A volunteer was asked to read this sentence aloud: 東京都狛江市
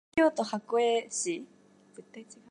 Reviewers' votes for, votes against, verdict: 0, 2, rejected